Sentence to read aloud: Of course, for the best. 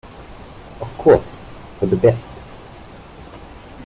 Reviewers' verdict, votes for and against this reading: accepted, 2, 0